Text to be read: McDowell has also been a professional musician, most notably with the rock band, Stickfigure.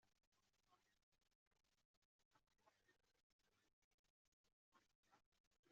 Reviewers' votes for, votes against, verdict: 0, 2, rejected